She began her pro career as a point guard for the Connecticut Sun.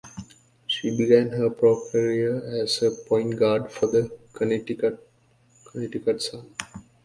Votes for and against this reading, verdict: 1, 2, rejected